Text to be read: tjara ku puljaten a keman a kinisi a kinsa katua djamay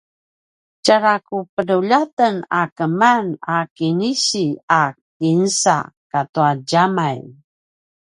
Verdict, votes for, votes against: rejected, 0, 2